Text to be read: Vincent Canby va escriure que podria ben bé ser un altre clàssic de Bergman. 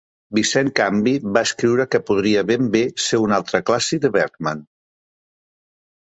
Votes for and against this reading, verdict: 3, 1, accepted